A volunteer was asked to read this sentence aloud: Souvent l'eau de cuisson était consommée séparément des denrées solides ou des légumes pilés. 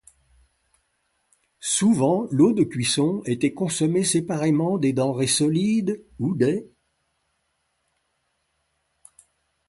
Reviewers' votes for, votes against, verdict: 0, 3, rejected